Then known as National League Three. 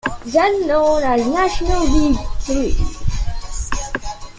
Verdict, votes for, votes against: rejected, 0, 2